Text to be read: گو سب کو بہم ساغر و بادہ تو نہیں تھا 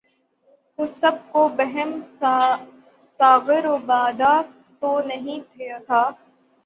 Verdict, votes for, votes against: rejected, 0, 9